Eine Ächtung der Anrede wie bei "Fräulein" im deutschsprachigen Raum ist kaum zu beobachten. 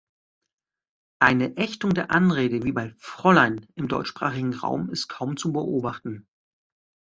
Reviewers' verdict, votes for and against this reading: accepted, 2, 0